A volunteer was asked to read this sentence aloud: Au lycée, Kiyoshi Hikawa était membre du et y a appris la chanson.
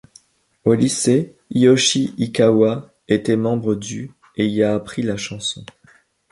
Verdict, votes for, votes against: rejected, 1, 2